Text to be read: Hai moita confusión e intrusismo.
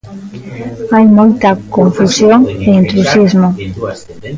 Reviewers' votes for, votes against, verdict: 1, 2, rejected